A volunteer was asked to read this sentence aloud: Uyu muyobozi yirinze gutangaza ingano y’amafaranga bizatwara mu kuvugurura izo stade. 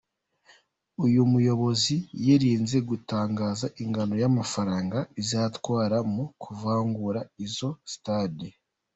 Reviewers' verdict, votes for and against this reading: rejected, 1, 2